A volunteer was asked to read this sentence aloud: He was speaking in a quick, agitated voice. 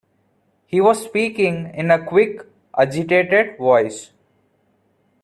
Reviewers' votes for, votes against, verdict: 2, 0, accepted